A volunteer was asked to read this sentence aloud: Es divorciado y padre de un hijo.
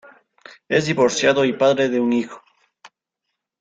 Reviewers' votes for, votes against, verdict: 2, 1, accepted